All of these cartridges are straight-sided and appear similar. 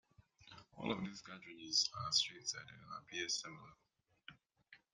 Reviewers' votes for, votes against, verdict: 0, 2, rejected